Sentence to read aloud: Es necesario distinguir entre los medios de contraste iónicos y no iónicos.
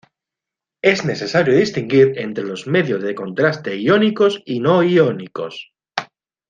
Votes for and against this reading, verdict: 2, 0, accepted